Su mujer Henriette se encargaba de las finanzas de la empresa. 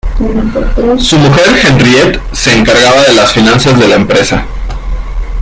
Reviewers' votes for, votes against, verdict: 1, 2, rejected